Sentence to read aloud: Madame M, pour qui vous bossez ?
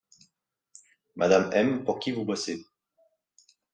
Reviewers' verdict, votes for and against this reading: accepted, 2, 0